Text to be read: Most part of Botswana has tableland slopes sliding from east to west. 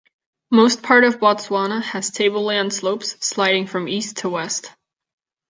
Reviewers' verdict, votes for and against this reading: accepted, 3, 0